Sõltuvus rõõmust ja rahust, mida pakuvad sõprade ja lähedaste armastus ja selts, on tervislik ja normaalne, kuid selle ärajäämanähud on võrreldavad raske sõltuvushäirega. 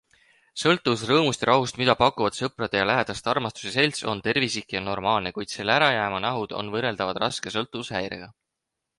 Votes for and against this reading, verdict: 6, 0, accepted